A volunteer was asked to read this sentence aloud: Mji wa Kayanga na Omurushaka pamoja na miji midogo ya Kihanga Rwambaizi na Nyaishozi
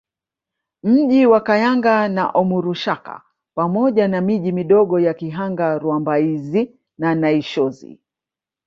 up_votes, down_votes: 2, 0